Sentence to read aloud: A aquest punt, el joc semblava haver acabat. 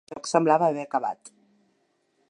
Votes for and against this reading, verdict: 1, 2, rejected